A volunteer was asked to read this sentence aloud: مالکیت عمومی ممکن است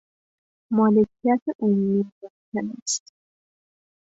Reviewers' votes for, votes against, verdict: 1, 2, rejected